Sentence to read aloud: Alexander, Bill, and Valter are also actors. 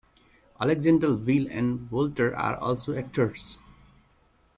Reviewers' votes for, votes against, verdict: 1, 2, rejected